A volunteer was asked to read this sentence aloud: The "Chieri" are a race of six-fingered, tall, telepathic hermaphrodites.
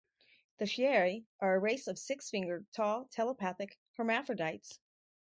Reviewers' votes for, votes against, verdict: 4, 0, accepted